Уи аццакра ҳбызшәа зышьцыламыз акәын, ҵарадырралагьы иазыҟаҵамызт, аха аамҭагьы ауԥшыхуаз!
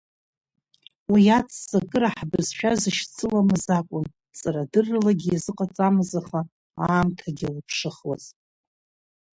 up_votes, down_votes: 6, 8